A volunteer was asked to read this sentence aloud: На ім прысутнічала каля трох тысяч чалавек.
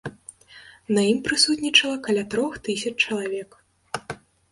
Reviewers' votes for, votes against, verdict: 2, 0, accepted